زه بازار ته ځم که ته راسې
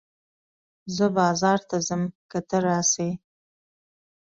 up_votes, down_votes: 2, 0